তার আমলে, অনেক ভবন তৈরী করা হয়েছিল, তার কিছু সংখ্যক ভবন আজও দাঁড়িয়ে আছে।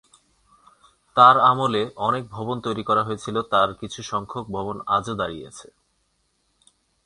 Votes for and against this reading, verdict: 2, 0, accepted